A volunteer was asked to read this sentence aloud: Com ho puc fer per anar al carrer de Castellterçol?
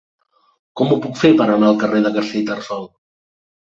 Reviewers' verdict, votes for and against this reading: accepted, 2, 0